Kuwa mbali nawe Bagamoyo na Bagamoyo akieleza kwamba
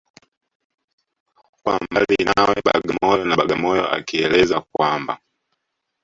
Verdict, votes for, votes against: rejected, 1, 2